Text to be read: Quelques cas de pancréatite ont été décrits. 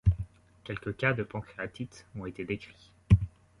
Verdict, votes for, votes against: accepted, 2, 0